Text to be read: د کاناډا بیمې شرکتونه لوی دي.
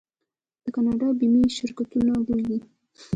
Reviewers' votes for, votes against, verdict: 1, 2, rejected